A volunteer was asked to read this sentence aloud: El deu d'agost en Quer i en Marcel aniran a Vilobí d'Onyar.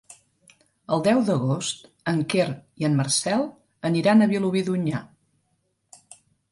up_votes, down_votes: 2, 0